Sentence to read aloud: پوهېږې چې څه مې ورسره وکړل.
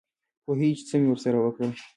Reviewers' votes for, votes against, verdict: 2, 1, accepted